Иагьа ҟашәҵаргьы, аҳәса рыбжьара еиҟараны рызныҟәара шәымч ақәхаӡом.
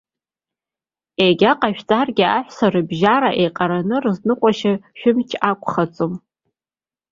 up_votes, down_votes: 1, 2